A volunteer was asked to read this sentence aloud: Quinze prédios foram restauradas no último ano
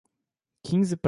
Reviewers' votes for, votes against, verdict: 0, 2, rejected